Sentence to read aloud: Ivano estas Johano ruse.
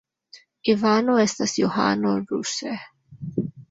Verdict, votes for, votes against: accepted, 3, 1